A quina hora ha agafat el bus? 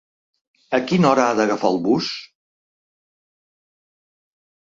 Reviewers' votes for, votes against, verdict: 1, 2, rejected